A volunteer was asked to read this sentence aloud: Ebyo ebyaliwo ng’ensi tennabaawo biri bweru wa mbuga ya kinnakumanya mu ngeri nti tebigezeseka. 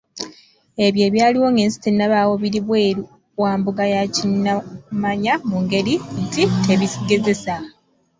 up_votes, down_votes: 2, 1